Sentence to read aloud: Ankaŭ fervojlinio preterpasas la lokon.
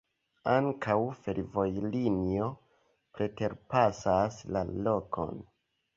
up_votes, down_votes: 0, 2